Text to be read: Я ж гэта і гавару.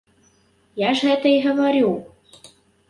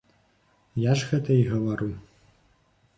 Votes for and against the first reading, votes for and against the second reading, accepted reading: 0, 2, 2, 0, second